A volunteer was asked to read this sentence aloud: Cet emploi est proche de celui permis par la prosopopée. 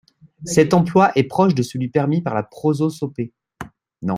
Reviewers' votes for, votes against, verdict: 0, 2, rejected